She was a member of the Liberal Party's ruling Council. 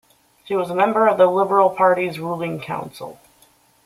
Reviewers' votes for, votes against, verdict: 2, 0, accepted